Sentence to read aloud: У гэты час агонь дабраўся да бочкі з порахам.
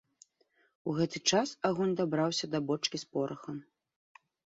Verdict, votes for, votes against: accepted, 2, 0